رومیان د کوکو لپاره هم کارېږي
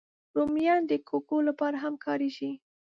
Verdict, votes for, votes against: rejected, 0, 2